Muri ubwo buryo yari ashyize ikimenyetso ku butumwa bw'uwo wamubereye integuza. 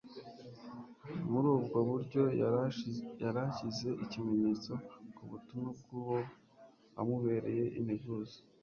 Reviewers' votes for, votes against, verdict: 1, 2, rejected